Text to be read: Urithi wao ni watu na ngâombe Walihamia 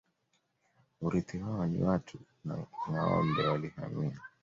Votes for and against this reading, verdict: 3, 2, accepted